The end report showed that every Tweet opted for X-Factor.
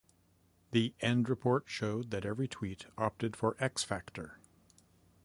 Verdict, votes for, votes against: accepted, 2, 0